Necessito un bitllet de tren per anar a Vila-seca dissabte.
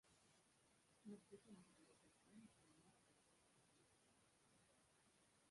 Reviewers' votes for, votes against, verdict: 0, 2, rejected